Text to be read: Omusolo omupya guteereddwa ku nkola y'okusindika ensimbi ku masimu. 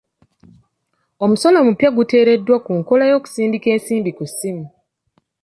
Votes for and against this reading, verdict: 1, 3, rejected